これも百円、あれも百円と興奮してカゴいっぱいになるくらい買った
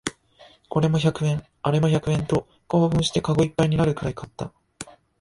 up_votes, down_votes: 2, 1